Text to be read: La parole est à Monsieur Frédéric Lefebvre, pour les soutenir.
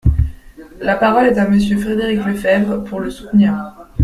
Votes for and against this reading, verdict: 0, 2, rejected